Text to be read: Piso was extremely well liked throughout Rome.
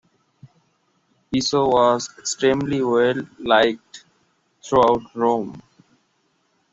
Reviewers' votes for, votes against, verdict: 2, 0, accepted